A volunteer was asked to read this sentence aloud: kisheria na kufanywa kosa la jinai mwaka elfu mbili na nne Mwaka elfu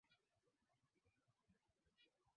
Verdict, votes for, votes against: rejected, 0, 2